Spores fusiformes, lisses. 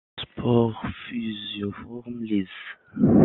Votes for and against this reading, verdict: 0, 2, rejected